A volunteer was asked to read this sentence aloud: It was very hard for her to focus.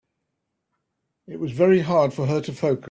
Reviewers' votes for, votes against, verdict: 0, 2, rejected